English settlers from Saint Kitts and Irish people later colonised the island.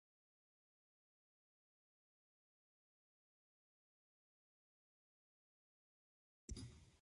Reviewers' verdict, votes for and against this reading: rejected, 0, 2